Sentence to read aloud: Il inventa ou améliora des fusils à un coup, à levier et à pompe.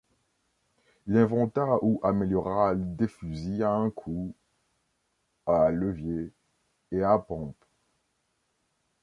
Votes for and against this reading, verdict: 0, 2, rejected